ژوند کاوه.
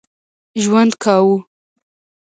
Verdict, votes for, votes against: rejected, 1, 2